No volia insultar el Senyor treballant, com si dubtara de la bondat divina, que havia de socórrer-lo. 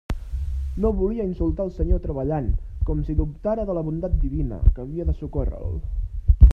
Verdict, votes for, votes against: rejected, 1, 2